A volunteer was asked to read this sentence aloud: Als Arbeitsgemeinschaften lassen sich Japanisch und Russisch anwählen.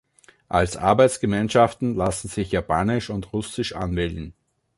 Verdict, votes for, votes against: accepted, 2, 0